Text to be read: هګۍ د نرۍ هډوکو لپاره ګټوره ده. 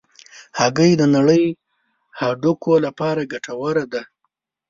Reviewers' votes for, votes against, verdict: 1, 2, rejected